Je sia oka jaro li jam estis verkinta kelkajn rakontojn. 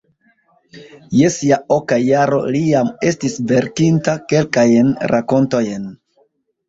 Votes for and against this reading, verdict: 0, 2, rejected